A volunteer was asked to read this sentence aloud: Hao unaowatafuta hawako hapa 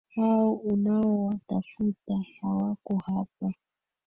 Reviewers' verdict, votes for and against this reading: rejected, 1, 2